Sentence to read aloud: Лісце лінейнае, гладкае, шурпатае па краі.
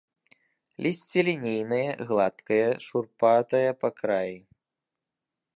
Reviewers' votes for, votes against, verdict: 2, 0, accepted